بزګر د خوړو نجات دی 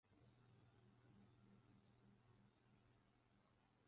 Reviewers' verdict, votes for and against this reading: rejected, 1, 2